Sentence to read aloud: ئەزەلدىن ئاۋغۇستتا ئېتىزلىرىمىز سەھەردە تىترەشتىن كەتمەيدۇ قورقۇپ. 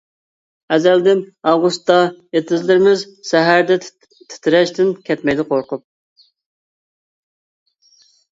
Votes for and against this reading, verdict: 0, 2, rejected